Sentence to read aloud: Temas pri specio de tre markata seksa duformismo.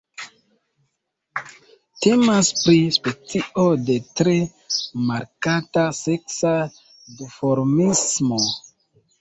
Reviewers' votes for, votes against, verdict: 1, 2, rejected